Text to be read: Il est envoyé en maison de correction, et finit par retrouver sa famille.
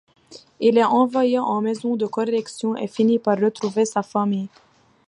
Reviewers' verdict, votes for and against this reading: accepted, 2, 0